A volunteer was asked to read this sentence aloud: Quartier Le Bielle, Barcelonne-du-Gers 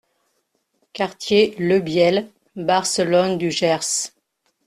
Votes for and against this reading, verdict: 2, 0, accepted